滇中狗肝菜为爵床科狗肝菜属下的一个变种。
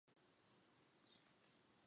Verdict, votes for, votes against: rejected, 0, 3